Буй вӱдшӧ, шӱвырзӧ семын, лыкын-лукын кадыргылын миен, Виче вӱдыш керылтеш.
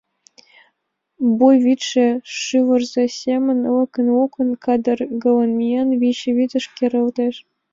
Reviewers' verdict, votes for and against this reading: rejected, 1, 3